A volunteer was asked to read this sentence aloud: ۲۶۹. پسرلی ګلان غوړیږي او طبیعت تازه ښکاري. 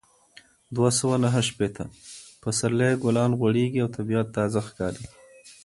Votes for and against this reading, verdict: 0, 2, rejected